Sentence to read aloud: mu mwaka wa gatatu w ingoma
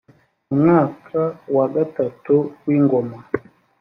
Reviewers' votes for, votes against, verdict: 3, 0, accepted